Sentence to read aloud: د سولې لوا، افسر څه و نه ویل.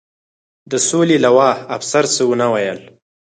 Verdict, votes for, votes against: accepted, 4, 0